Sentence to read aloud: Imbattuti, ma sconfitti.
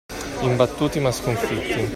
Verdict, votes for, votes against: accepted, 2, 1